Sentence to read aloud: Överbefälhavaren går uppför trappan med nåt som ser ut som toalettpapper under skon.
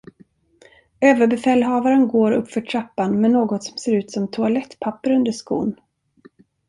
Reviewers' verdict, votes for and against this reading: rejected, 1, 2